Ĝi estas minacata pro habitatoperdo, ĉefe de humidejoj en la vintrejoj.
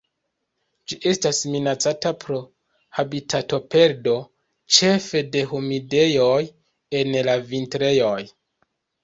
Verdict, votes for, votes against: accepted, 2, 0